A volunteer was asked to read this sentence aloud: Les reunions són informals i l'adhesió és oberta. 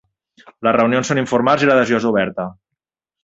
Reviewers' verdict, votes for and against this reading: accepted, 3, 0